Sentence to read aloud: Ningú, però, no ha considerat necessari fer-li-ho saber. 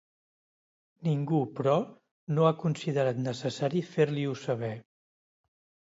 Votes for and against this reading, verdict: 2, 0, accepted